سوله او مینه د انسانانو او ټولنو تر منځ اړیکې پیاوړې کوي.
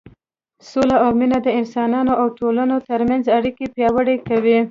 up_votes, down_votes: 2, 0